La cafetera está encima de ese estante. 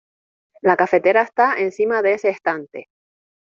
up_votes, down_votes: 2, 0